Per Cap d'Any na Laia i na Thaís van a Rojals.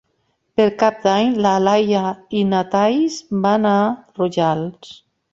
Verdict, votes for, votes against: accepted, 3, 0